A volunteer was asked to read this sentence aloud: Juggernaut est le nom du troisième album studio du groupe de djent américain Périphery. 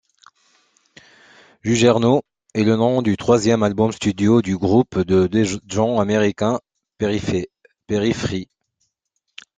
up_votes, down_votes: 0, 2